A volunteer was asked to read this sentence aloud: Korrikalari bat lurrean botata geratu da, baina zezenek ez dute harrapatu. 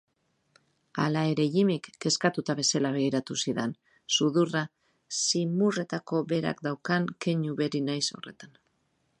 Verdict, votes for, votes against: rejected, 2, 5